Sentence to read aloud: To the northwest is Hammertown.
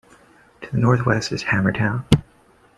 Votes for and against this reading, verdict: 2, 0, accepted